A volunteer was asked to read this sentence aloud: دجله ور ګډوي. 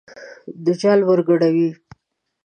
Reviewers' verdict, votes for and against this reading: rejected, 1, 2